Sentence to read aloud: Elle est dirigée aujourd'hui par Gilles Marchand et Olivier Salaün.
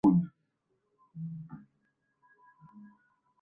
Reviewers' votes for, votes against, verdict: 1, 2, rejected